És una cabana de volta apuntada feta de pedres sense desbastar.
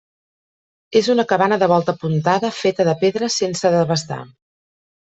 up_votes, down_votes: 1, 2